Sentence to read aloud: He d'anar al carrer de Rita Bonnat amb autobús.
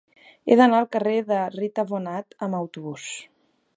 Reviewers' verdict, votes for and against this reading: accepted, 2, 0